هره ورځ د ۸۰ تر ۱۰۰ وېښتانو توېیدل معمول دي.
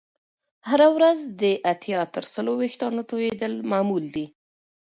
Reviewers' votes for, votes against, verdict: 0, 2, rejected